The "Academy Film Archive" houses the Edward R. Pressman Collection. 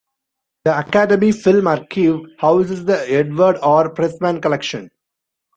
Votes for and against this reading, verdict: 0, 2, rejected